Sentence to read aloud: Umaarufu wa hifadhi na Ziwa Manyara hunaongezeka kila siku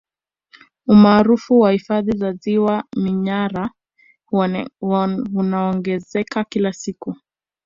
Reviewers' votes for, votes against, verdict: 1, 2, rejected